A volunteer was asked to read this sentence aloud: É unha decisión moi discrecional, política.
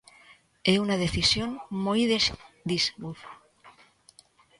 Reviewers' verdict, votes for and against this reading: rejected, 0, 2